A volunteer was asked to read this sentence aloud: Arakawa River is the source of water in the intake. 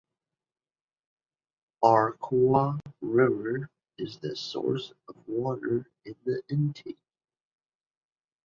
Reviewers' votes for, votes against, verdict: 2, 1, accepted